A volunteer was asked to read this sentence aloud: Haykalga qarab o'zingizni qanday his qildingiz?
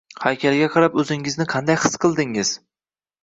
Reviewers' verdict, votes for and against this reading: accepted, 2, 0